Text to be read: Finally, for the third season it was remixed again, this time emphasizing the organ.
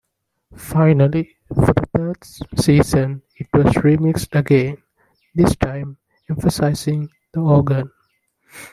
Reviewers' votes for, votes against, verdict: 1, 2, rejected